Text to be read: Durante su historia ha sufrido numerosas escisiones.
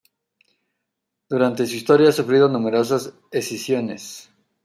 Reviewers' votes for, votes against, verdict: 1, 2, rejected